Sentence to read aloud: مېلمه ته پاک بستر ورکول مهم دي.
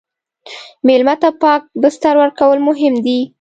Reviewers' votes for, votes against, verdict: 2, 0, accepted